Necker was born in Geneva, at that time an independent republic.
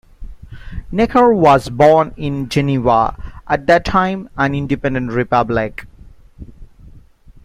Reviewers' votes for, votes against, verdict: 2, 0, accepted